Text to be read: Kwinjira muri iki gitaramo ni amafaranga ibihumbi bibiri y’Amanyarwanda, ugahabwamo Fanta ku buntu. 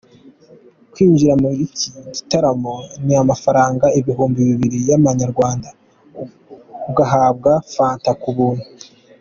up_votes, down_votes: 2, 0